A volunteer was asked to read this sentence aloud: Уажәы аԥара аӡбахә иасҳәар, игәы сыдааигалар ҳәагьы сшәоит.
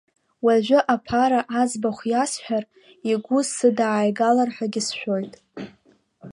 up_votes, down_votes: 5, 0